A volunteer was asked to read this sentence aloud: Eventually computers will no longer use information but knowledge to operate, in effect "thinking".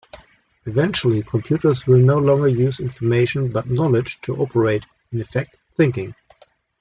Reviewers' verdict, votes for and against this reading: accepted, 2, 0